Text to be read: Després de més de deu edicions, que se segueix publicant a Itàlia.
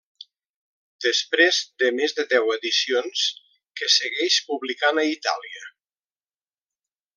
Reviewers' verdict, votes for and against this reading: rejected, 0, 2